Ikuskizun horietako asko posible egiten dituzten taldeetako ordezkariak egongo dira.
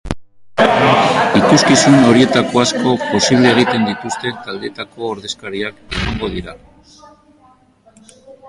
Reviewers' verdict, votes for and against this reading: rejected, 0, 2